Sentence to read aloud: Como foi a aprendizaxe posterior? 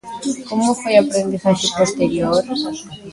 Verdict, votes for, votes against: rejected, 0, 2